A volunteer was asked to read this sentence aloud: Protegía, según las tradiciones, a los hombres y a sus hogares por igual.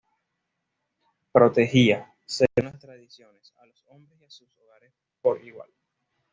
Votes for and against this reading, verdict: 1, 2, rejected